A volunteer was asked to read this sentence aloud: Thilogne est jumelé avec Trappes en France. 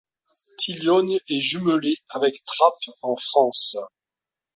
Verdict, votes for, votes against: accepted, 2, 0